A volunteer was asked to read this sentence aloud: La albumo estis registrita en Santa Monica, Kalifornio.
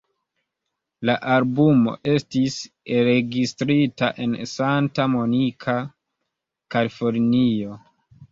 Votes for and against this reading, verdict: 1, 2, rejected